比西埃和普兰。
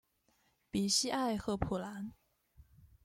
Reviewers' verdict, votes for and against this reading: rejected, 1, 2